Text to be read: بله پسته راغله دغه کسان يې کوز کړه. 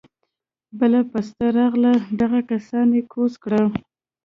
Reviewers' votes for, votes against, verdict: 2, 0, accepted